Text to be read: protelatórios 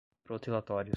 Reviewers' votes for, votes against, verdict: 1, 2, rejected